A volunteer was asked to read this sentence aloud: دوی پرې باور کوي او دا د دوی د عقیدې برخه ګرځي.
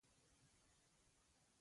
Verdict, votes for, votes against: rejected, 0, 2